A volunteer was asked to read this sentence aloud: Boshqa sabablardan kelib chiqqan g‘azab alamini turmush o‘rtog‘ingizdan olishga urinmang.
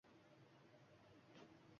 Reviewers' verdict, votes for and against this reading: rejected, 1, 2